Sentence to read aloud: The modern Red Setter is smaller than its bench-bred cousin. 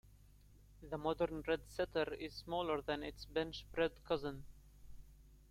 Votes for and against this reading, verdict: 0, 2, rejected